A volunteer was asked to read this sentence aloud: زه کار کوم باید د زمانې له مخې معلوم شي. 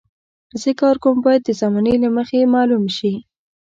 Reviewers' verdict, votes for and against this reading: accepted, 2, 0